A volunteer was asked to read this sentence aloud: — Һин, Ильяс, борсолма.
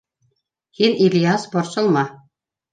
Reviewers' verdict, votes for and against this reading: accepted, 3, 1